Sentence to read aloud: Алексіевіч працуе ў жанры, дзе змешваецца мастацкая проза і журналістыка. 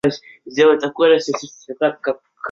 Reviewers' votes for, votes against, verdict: 0, 2, rejected